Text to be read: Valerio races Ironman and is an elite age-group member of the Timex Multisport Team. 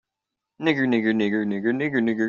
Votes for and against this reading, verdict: 0, 2, rejected